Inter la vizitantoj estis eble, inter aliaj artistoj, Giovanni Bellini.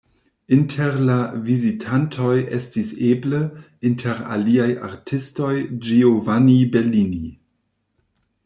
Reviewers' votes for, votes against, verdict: 1, 2, rejected